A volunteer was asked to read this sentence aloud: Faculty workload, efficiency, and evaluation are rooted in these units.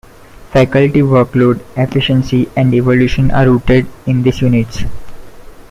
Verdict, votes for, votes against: rejected, 1, 2